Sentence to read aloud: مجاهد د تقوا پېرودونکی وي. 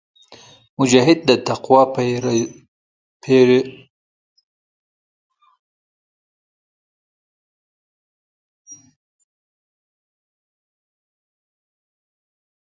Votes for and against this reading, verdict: 0, 2, rejected